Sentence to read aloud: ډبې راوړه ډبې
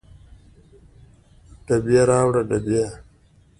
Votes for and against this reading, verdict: 2, 0, accepted